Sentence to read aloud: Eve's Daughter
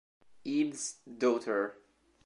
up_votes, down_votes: 2, 0